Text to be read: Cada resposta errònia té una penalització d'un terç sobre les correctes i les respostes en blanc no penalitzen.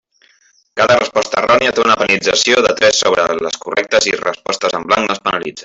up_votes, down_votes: 0, 2